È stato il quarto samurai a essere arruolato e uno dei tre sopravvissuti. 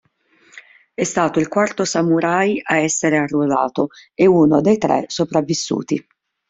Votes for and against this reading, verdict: 2, 0, accepted